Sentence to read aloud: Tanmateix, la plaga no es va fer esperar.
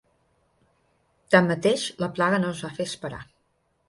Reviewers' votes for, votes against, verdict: 6, 0, accepted